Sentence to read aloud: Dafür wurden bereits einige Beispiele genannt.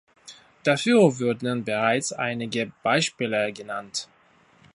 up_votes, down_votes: 1, 2